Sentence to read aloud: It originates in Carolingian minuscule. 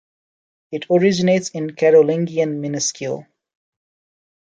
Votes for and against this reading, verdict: 2, 0, accepted